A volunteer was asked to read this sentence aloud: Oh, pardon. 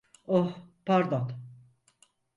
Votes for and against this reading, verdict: 4, 0, accepted